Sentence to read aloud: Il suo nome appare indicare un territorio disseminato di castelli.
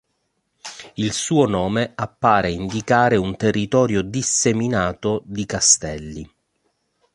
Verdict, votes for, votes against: accepted, 2, 0